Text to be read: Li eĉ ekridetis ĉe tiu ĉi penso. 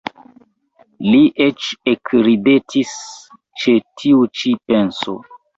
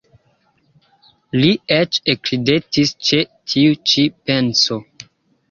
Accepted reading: first